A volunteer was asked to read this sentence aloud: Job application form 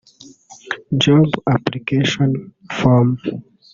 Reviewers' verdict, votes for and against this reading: rejected, 1, 2